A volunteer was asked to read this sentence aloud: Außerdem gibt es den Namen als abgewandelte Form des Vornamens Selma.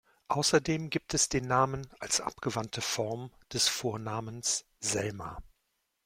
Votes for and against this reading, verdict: 0, 2, rejected